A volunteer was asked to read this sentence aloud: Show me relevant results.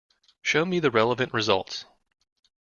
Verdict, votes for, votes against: rejected, 1, 2